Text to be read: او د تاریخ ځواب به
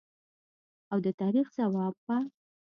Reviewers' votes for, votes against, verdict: 2, 0, accepted